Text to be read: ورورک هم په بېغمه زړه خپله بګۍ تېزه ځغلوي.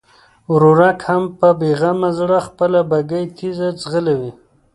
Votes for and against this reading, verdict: 2, 0, accepted